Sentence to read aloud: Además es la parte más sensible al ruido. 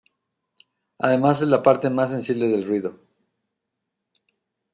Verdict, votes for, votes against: rejected, 1, 2